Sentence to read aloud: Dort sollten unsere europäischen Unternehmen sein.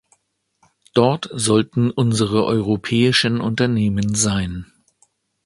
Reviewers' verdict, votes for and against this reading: accepted, 2, 0